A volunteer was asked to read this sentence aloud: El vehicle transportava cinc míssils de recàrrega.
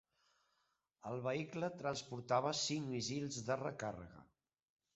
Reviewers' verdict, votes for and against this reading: rejected, 0, 2